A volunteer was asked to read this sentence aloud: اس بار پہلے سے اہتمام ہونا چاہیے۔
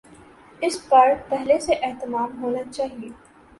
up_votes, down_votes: 2, 0